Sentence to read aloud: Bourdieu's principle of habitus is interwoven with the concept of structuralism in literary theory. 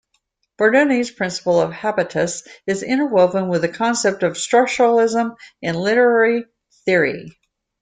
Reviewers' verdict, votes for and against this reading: accepted, 2, 1